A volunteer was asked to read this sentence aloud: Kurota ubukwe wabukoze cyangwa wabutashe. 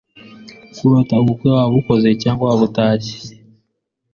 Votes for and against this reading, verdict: 3, 1, accepted